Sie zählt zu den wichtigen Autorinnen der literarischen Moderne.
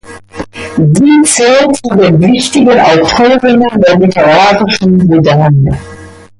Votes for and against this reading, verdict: 0, 2, rejected